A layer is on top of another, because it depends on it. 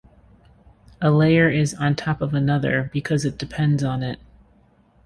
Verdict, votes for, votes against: accepted, 2, 0